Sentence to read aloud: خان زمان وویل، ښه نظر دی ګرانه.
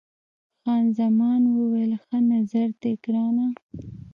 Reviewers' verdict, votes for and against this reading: rejected, 0, 2